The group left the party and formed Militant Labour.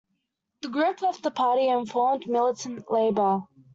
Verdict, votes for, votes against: accepted, 2, 0